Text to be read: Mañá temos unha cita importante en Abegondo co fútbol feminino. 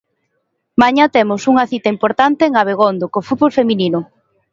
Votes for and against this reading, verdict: 2, 0, accepted